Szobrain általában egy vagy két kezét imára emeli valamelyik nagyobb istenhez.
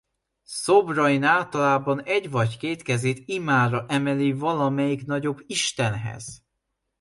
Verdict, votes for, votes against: accepted, 2, 0